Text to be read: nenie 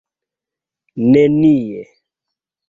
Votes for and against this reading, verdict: 2, 0, accepted